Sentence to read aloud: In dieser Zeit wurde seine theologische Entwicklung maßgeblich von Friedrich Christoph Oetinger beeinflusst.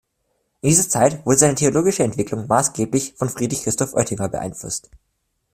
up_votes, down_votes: 0, 2